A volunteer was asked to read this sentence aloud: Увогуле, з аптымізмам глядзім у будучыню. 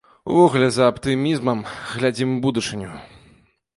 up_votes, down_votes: 1, 2